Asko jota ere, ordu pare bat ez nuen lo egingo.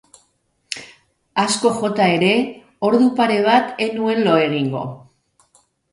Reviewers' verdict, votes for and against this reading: rejected, 1, 2